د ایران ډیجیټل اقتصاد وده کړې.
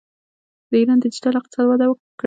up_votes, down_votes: 0, 2